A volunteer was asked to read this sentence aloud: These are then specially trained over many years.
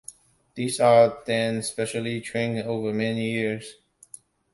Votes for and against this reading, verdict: 2, 0, accepted